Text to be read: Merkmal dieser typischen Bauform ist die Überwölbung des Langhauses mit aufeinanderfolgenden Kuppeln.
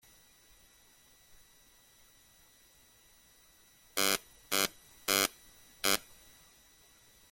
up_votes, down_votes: 0, 2